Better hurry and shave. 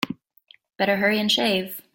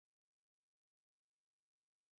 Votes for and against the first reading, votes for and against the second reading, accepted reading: 3, 0, 0, 3, first